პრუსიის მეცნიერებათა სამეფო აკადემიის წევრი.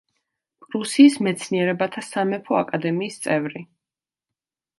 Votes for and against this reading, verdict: 2, 0, accepted